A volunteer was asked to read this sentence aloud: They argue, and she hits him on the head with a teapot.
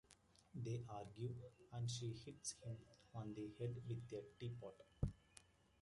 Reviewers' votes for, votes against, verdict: 0, 2, rejected